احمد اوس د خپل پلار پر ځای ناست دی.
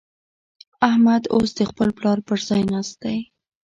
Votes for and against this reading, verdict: 2, 0, accepted